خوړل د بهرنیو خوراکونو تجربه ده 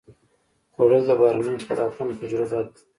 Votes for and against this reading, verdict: 2, 0, accepted